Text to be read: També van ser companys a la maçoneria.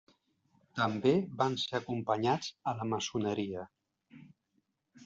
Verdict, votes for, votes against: rejected, 0, 2